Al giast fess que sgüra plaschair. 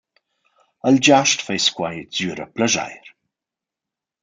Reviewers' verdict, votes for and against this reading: rejected, 1, 2